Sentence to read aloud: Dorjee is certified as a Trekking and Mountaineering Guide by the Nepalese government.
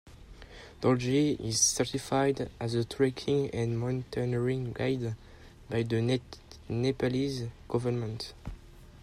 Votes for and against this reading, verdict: 0, 2, rejected